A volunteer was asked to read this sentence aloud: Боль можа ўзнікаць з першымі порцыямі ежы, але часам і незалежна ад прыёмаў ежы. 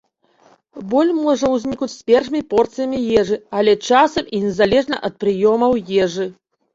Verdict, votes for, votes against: rejected, 0, 2